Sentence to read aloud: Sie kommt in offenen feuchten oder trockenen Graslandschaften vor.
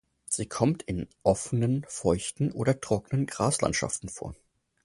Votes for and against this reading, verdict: 4, 0, accepted